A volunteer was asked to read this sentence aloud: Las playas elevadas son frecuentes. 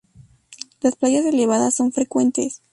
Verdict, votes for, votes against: rejected, 0, 2